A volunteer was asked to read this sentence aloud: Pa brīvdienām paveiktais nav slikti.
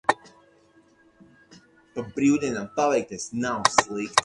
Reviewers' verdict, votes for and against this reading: rejected, 2, 4